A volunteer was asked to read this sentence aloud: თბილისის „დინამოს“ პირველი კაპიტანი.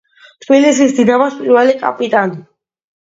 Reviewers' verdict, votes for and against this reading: accepted, 2, 0